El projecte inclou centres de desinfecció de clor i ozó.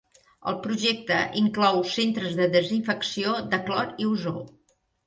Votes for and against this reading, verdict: 2, 0, accepted